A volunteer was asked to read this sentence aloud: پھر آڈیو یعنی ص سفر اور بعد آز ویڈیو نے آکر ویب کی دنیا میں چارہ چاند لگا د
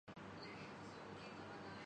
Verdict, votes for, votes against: rejected, 0, 2